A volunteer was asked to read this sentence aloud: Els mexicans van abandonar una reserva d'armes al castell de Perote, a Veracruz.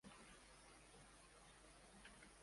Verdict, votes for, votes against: rejected, 0, 2